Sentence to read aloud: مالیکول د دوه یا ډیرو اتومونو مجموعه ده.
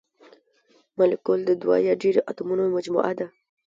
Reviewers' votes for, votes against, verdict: 1, 2, rejected